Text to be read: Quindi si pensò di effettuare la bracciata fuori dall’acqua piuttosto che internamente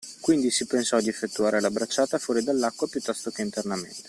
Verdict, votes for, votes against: accepted, 2, 0